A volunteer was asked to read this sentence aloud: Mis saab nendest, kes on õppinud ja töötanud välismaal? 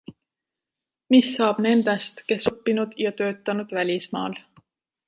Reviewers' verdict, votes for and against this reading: rejected, 1, 2